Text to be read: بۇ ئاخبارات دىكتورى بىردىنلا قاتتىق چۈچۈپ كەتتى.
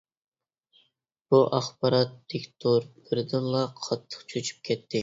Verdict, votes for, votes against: rejected, 0, 2